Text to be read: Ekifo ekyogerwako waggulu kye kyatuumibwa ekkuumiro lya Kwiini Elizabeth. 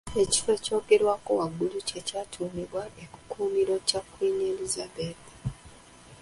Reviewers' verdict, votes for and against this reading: rejected, 0, 2